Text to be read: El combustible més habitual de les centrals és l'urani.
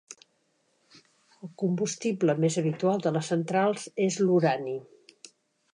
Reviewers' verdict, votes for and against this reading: rejected, 0, 2